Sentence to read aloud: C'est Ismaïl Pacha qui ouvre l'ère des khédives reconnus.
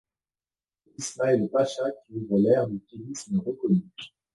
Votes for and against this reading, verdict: 0, 2, rejected